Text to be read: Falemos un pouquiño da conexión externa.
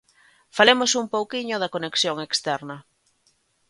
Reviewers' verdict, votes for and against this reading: accepted, 2, 0